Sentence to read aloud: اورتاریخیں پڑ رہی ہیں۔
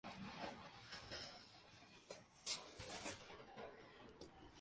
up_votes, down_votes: 0, 2